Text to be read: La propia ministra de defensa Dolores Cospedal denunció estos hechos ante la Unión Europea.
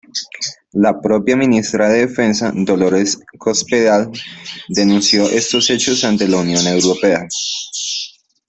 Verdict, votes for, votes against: accepted, 2, 0